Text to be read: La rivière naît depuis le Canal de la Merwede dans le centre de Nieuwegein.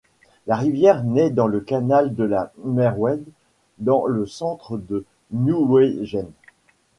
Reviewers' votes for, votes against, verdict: 1, 2, rejected